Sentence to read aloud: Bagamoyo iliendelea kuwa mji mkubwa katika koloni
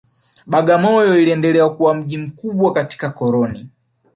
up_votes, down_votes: 1, 2